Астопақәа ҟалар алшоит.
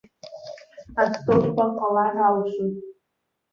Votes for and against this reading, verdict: 1, 2, rejected